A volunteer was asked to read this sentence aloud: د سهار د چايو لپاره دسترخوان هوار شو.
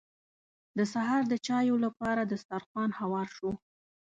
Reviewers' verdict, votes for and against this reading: accepted, 2, 0